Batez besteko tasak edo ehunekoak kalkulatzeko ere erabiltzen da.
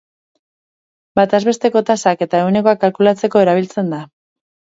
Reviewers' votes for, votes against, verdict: 2, 6, rejected